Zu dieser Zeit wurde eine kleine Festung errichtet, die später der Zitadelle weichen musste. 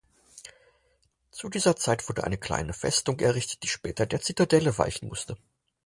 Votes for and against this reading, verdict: 4, 0, accepted